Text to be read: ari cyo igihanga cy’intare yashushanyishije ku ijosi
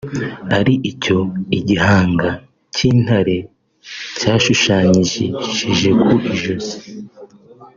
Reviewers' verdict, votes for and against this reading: rejected, 0, 2